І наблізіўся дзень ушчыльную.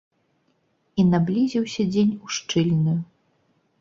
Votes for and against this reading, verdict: 2, 0, accepted